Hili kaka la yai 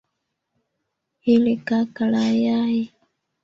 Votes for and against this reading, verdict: 3, 2, accepted